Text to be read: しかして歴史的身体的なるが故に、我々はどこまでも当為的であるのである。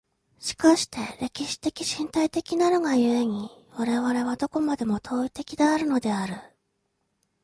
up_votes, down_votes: 2, 0